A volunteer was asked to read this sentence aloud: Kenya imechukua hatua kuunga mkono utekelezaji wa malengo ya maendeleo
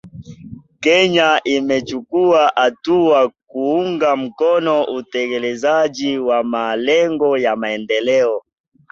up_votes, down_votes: 4, 0